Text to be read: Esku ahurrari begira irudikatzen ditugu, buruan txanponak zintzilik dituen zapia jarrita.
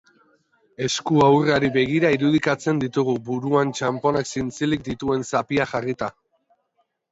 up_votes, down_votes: 2, 0